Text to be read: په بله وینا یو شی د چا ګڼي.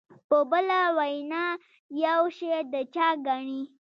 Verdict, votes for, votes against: accepted, 2, 1